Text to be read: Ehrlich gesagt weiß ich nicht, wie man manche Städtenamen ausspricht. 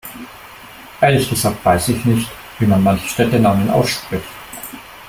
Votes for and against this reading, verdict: 2, 0, accepted